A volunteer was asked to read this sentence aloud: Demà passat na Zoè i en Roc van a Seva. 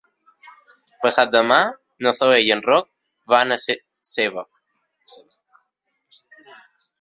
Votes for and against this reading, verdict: 1, 2, rejected